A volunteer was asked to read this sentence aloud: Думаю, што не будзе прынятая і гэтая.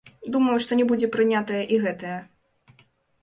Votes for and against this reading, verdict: 2, 0, accepted